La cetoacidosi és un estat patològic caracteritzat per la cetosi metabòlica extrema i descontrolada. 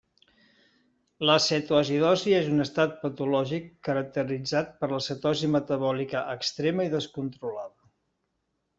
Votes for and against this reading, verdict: 3, 0, accepted